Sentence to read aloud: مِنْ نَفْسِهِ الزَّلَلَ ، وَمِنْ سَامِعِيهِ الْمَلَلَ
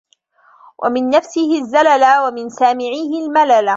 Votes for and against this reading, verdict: 1, 2, rejected